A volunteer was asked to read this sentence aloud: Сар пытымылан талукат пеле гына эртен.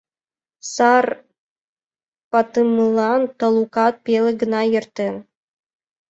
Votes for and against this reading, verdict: 1, 4, rejected